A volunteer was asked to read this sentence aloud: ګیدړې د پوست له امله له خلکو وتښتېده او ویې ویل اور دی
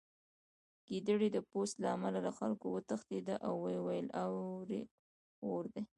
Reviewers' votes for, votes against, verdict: 2, 0, accepted